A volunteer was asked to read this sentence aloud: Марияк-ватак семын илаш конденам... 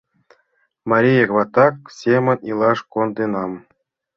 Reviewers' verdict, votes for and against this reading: accepted, 2, 0